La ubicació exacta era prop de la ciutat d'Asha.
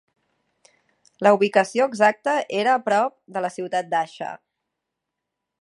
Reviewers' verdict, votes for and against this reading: accepted, 3, 0